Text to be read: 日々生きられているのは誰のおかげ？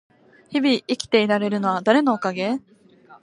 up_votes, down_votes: 4, 2